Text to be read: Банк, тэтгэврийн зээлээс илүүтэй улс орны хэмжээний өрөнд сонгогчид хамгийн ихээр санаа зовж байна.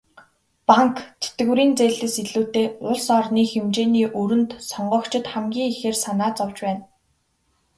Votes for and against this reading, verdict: 5, 2, accepted